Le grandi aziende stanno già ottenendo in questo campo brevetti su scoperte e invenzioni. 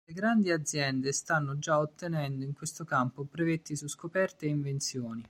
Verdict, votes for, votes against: accepted, 3, 0